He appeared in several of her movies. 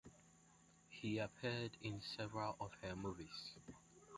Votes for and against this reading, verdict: 0, 2, rejected